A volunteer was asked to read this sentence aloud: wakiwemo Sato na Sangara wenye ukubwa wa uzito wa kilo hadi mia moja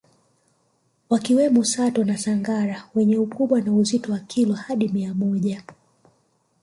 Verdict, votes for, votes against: rejected, 1, 2